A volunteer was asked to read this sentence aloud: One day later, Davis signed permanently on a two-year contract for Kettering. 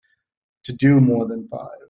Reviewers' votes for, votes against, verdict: 0, 2, rejected